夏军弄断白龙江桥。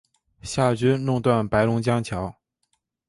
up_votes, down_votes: 2, 0